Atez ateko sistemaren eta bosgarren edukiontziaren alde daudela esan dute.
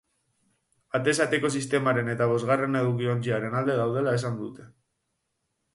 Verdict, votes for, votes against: rejected, 4, 4